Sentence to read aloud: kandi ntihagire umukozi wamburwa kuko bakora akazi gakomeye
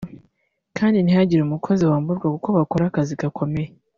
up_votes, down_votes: 0, 2